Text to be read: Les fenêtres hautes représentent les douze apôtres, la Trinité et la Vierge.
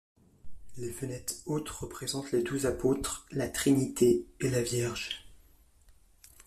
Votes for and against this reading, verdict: 2, 0, accepted